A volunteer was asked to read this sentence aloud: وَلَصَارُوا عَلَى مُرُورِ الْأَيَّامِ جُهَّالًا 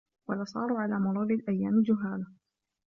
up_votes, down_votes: 2, 1